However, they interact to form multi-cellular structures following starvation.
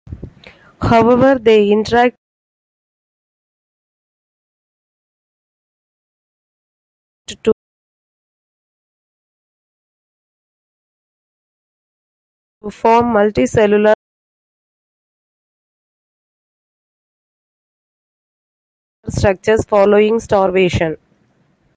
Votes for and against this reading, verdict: 0, 2, rejected